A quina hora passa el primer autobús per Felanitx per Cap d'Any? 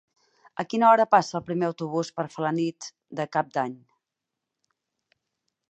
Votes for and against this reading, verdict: 2, 4, rejected